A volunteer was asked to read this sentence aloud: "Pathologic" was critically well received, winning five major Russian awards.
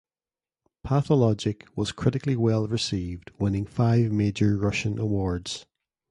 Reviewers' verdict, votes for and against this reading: accepted, 2, 0